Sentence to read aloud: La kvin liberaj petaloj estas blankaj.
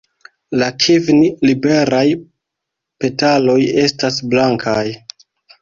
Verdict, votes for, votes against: rejected, 0, 2